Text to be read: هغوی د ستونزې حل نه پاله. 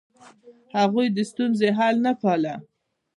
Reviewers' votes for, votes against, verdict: 1, 2, rejected